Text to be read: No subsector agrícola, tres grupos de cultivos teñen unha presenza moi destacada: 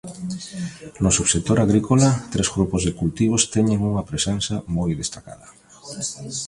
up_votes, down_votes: 2, 0